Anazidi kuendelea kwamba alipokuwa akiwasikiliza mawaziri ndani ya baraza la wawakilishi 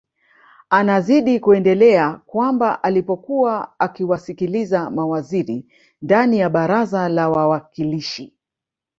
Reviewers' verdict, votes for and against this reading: accepted, 5, 0